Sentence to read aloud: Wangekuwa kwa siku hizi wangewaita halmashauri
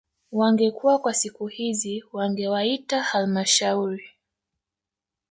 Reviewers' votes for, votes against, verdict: 1, 2, rejected